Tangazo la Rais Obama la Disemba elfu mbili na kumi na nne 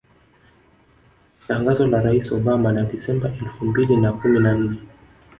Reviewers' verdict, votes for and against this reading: accepted, 2, 0